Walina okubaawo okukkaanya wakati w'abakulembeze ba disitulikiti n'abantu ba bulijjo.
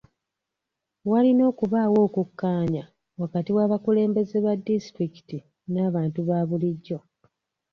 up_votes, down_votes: 2, 0